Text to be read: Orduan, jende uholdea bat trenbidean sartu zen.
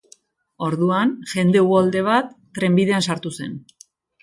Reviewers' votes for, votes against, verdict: 2, 0, accepted